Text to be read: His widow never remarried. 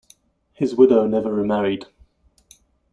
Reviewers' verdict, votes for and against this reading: accepted, 2, 0